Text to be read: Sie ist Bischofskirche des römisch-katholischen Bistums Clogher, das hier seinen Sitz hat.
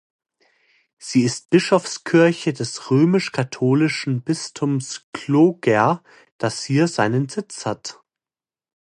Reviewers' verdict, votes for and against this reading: accepted, 2, 0